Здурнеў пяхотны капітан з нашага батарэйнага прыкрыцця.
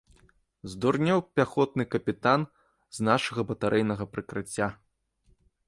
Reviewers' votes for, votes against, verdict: 2, 0, accepted